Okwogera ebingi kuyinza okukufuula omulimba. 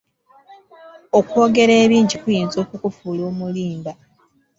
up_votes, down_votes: 2, 0